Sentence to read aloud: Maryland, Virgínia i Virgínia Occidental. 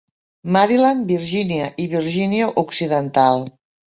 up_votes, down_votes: 2, 0